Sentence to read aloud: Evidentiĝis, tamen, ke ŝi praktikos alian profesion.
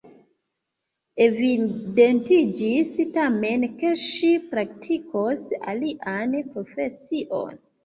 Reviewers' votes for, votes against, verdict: 0, 2, rejected